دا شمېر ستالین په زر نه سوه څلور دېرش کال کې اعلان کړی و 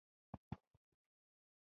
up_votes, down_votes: 0, 2